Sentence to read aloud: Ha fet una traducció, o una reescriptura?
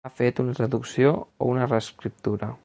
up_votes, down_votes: 2, 0